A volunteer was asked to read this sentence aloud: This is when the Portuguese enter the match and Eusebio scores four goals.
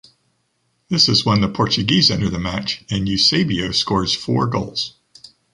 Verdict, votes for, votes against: accepted, 2, 0